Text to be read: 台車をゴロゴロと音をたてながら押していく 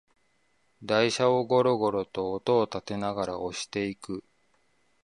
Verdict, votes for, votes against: accepted, 2, 0